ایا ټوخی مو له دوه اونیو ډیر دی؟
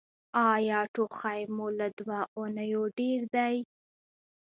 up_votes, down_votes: 3, 1